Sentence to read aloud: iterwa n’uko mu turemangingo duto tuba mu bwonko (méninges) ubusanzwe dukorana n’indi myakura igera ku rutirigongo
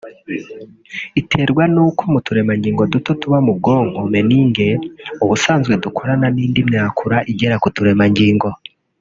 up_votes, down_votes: 1, 3